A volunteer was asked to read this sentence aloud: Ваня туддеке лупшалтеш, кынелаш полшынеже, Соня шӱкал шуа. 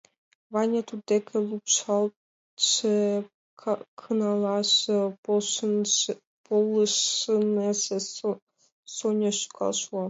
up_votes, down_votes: 1, 2